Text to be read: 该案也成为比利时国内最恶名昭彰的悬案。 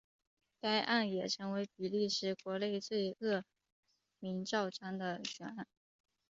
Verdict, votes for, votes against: rejected, 1, 2